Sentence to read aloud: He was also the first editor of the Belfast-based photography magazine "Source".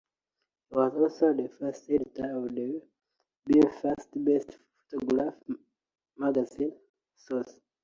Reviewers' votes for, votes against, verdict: 0, 2, rejected